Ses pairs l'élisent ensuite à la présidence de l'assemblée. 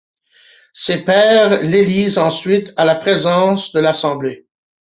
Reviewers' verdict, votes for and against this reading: rejected, 1, 2